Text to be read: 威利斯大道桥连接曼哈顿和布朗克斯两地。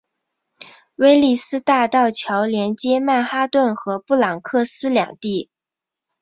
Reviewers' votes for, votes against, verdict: 2, 0, accepted